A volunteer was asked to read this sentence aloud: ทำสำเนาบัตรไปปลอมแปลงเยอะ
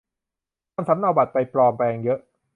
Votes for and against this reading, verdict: 2, 0, accepted